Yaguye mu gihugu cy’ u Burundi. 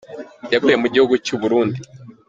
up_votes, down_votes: 2, 1